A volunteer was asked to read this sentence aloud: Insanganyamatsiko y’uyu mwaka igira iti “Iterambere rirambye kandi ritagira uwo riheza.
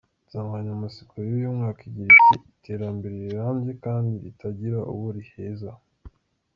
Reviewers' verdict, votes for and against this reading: accepted, 2, 0